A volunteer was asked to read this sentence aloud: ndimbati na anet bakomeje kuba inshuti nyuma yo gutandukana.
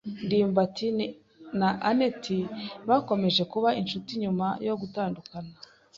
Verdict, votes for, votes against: rejected, 1, 2